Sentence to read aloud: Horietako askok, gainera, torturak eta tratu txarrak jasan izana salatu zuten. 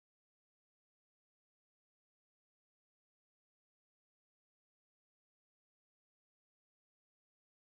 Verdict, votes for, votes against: rejected, 0, 2